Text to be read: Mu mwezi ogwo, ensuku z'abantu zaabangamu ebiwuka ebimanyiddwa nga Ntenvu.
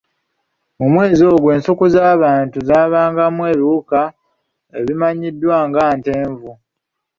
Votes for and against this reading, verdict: 2, 0, accepted